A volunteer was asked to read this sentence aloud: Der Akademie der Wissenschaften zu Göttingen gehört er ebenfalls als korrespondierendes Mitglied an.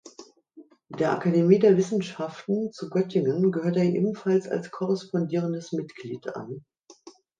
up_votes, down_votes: 2, 0